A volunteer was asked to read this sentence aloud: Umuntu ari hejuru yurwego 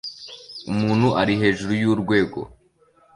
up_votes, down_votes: 3, 0